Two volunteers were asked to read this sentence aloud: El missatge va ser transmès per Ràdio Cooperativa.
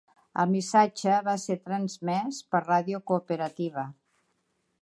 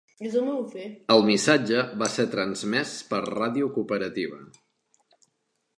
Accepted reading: first